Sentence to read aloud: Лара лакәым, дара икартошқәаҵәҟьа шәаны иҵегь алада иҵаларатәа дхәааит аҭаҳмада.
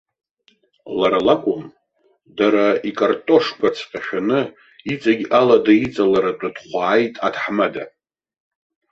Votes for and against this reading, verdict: 2, 0, accepted